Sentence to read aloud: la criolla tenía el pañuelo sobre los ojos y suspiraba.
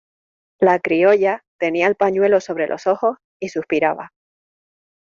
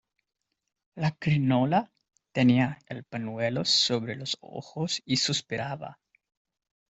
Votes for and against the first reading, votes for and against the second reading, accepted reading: 2, 0, 0, 2, first